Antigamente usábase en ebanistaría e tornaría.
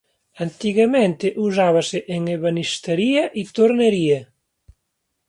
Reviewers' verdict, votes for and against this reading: rejected, 1, 2